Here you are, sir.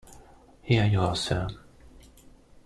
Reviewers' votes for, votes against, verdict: 2, 0, accepted